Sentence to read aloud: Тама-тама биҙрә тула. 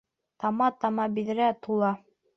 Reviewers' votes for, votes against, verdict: 2, 0, accepted